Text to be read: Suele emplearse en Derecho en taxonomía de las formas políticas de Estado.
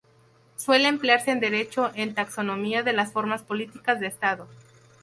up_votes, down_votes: 2, 0